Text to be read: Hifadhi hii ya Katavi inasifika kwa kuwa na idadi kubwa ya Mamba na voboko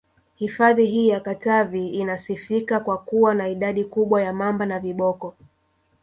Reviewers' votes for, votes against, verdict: 1, 3, rejected